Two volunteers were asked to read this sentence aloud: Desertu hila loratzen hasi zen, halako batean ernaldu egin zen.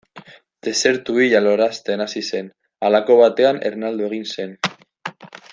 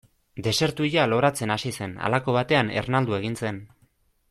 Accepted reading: second